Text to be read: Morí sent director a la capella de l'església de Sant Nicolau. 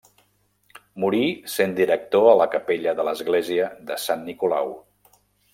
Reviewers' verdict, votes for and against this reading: accepted, 3, 0